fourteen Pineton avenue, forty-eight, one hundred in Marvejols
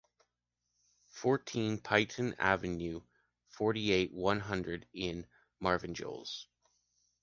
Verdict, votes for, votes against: rejected, 1, 2